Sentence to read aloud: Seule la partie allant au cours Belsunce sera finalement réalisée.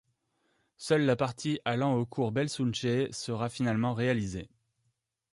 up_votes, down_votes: 1, 2